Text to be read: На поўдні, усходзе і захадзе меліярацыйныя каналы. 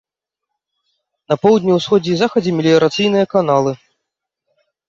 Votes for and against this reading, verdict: 2, 0, accepted